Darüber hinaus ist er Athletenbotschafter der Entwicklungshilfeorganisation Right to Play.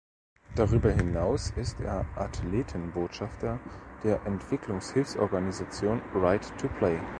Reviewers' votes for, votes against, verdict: 2, 0, accepted